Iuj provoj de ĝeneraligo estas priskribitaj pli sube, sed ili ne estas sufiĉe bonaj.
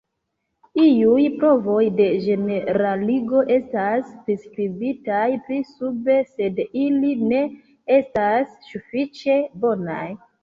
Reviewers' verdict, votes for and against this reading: accepted, 2, 1